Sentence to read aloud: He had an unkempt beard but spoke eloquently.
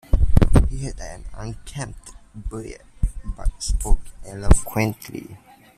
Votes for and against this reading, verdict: 2, 1, accepted